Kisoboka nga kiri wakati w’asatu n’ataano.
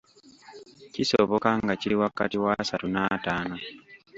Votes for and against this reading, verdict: 1, 2, rejected